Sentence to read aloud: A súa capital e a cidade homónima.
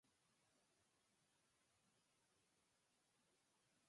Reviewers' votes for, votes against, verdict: 0, 4, rejected